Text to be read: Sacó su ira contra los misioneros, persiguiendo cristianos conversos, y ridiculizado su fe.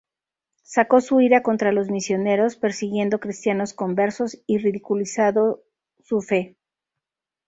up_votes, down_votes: 0, 2